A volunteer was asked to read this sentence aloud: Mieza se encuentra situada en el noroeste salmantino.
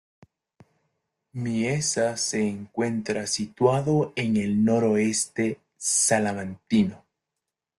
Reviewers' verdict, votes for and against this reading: rejected, 0, 2